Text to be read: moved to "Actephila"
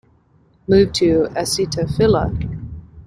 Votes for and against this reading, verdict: 1, 2, rejected